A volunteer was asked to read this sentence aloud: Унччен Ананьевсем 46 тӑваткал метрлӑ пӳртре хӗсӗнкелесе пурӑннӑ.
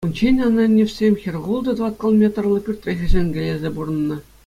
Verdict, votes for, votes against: rejected, 0, 2